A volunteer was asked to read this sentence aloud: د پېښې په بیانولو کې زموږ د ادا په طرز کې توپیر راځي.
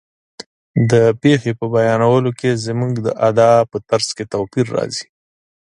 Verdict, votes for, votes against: accepted, 4, 0